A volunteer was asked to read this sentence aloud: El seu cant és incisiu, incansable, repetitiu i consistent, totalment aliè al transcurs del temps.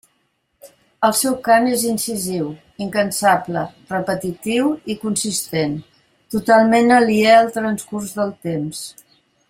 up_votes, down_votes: 3, 0